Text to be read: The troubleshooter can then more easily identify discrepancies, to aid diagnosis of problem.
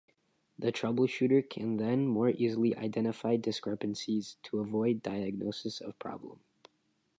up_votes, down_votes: 0, 2